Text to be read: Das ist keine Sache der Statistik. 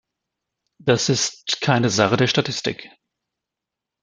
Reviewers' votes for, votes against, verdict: 2, 0, accepted